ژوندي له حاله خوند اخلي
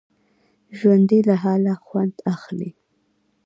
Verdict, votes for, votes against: rejected, 0, 2